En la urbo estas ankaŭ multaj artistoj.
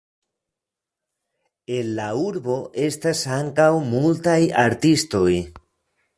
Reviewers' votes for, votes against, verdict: 1, 2, rejected